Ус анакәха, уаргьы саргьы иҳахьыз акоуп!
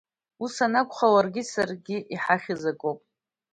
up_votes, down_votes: 1, 2